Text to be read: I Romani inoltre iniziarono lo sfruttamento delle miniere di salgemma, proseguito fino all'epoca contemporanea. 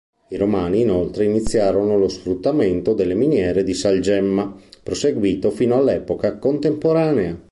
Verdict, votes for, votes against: accepted, 2, 0